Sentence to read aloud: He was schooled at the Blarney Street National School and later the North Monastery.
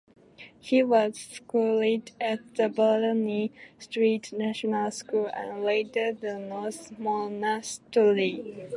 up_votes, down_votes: 1, 3